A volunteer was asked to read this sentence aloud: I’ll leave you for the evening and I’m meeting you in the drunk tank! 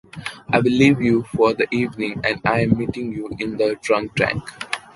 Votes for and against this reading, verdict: 2, 0, accepted